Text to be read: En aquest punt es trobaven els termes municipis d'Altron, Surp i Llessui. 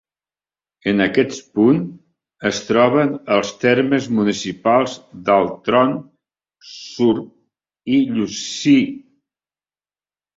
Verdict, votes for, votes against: rejected, 0, 2